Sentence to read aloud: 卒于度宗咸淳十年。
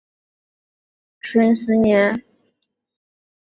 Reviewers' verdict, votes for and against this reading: rejected, 0, 2